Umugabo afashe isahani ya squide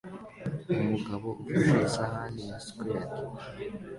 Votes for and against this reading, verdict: 2, 1, accepted